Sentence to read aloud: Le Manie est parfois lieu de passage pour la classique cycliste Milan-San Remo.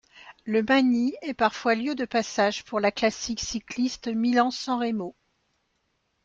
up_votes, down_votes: 1, 2